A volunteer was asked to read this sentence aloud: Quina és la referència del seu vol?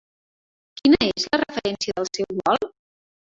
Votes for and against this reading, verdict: 0, 2, rejected